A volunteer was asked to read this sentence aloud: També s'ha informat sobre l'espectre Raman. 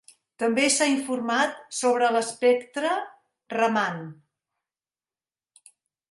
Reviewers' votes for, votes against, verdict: 3, 0, accepted